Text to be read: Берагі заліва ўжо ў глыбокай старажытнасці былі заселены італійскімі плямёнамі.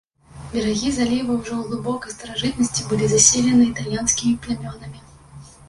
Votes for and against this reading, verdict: 1, 2, rejected